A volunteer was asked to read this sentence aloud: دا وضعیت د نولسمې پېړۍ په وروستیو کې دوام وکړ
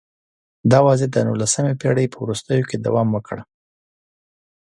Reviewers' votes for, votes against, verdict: 2, 0, accepted